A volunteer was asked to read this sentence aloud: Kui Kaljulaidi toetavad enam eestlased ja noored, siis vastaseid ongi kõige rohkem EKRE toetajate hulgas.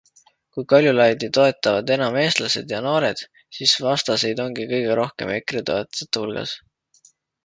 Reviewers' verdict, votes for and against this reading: accepted, 2, 0